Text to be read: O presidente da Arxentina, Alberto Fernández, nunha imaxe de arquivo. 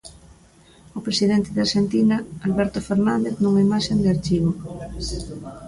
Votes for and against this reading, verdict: 0, 2, rejected